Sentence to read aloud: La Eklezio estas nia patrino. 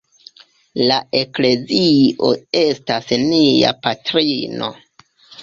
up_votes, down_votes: 1, 2